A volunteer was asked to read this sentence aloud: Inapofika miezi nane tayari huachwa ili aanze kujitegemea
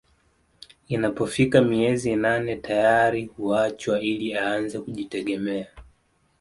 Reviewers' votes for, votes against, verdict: 2, 0, accepted